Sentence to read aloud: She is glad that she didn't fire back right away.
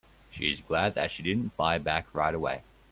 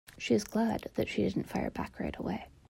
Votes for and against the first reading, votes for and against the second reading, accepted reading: 2, 0, 1, 2, first